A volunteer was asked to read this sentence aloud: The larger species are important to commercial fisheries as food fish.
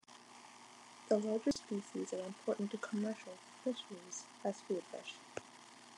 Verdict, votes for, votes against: accepted, 2, 1